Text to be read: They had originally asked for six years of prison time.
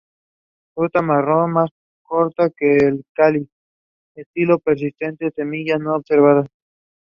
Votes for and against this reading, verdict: 0, 2, rejected